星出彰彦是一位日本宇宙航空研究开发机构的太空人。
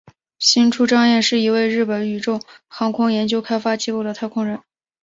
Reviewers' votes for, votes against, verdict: 2, 0, accepted